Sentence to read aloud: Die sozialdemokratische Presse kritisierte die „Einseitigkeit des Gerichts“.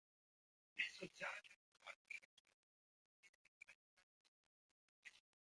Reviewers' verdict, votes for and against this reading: rejected, 0, 2